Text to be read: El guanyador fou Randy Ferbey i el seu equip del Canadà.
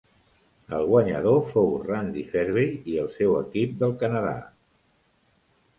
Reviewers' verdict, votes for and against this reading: accepted, 3, 1